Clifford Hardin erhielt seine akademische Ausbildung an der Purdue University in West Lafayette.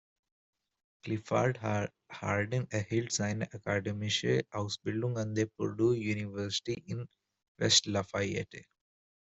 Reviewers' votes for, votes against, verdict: 1, 2, rejected